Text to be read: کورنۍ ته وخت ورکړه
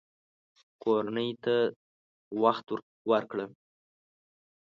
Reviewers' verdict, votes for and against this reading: accepted, 2, 0